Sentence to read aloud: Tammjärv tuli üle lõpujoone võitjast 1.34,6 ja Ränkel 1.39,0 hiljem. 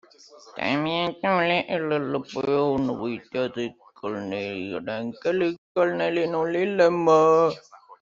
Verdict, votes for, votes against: rejected, 0, 2